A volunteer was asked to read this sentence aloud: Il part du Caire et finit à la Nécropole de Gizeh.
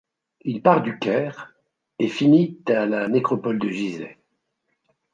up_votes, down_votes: 0, 2